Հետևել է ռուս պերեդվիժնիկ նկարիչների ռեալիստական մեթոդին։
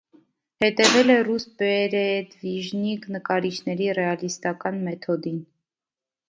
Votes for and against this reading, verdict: 2, 0, accepted